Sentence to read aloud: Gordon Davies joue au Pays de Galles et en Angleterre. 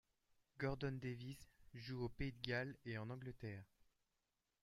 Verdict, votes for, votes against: rejected, 0, 2